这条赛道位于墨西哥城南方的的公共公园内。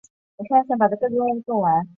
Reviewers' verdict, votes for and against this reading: rejected, 0, 2